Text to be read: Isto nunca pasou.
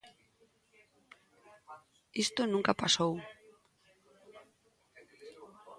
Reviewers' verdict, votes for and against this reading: accepted, 2, 0